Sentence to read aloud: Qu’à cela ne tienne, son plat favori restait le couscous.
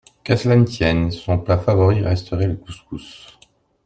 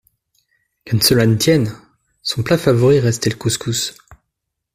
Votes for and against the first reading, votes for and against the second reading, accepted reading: 0, 2, 2, 0, second